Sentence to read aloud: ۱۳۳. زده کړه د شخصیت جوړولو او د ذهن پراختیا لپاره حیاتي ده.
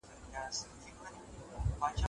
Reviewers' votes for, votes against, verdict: 0, 2, rejected